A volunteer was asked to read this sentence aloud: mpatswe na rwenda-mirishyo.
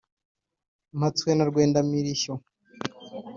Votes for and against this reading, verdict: 3, 0, accepted